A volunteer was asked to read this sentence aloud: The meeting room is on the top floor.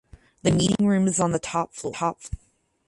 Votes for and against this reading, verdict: 0, 4, rejected